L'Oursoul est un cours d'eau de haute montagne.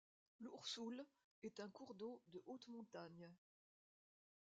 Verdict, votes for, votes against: accepted, 2, 0